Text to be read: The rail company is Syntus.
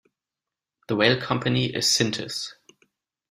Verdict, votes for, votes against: accepted, 2, 0